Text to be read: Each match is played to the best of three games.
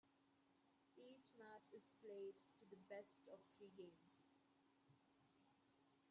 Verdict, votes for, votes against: rejected, 0, 2